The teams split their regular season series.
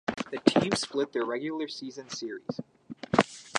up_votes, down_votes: 4, 2